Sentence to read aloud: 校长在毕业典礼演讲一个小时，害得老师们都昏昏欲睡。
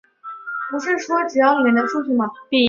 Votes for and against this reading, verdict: 0, 3, rejected